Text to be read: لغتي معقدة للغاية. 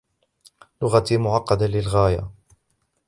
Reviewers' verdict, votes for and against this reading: accepted, 2, 0